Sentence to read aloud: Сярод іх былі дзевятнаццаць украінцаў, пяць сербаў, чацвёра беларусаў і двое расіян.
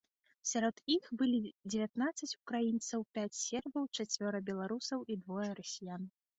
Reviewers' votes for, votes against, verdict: 2, 0, accepted